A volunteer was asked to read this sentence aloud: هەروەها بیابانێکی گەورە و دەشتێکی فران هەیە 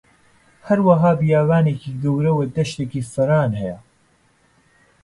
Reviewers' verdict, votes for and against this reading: accepted, 2, 0